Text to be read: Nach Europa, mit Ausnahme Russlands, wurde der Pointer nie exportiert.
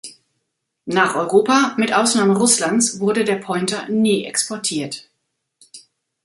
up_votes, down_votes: 1, 2